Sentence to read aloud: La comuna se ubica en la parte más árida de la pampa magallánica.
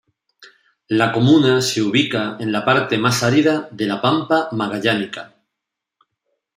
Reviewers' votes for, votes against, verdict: 1, 2, rejected